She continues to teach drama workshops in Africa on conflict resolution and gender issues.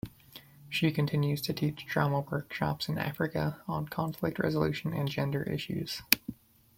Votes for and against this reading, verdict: 2, 0, accepted